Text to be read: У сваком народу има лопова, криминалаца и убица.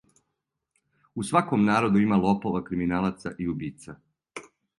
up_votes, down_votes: 2, 0